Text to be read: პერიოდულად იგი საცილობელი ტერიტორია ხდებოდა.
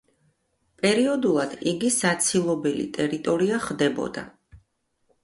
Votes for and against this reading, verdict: 2, 0, accepted